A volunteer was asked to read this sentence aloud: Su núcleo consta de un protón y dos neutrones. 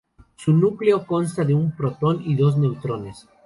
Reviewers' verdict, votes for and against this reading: accepted, 4, 0